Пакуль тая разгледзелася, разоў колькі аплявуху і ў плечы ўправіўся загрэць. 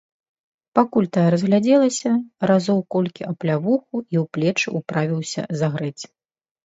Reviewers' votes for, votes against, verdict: 0, 2, rejected